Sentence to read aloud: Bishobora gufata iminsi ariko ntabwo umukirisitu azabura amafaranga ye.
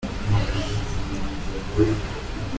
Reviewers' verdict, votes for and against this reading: rejected, 0, 2